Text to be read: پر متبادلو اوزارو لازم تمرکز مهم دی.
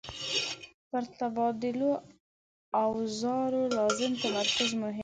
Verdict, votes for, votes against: rejected, 1, 2